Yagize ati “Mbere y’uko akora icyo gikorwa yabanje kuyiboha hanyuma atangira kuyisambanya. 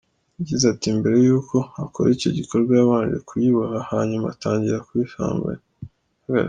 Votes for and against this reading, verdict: 1, 2, rejected